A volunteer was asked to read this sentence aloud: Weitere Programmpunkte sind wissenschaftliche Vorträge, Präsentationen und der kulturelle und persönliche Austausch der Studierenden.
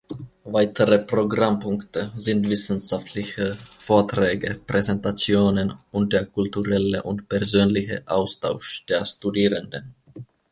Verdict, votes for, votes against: accepted, 2, 1